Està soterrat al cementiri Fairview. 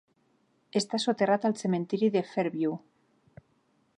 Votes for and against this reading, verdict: 0, 2, rejected